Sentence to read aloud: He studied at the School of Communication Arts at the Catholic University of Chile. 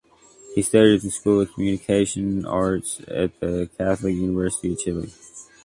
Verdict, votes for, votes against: accepted, 2, 0